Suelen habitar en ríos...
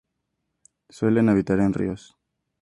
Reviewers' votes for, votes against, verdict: 2, 0, accepted